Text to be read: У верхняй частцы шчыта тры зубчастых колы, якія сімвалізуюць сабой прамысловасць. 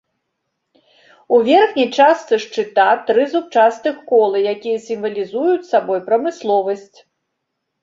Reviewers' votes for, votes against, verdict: 2, 0, accepted